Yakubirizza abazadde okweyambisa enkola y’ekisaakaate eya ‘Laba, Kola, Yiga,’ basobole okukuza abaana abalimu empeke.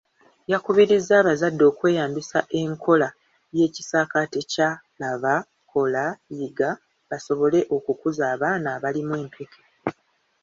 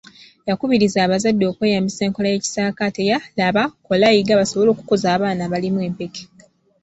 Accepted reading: second